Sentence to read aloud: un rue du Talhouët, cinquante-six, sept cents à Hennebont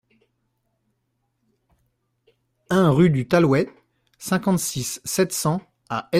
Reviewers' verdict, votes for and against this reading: rejected, 0, 2